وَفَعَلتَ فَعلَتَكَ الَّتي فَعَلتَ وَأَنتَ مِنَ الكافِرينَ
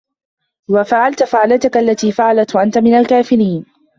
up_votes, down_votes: 0, 2